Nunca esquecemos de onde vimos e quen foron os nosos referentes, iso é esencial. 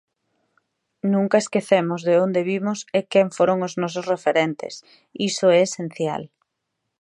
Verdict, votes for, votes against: accepted, 2, 0